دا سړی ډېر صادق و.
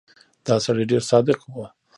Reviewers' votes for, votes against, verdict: 1, 2, rejected